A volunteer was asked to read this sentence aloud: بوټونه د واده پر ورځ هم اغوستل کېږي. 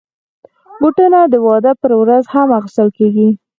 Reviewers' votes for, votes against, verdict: 4, 0, accepted